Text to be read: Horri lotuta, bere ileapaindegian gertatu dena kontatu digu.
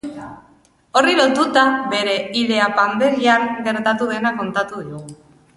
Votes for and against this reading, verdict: 0, 2, rejected